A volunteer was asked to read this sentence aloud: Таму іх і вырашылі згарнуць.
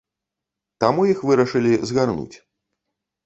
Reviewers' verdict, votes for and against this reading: rejected, 1, 2